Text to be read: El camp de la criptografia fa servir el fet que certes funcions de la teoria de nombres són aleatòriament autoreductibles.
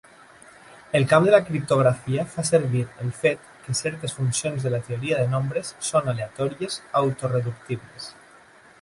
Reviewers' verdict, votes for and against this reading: rejected, 0, 2